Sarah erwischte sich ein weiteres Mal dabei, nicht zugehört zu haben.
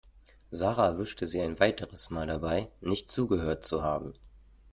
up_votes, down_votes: 0, 2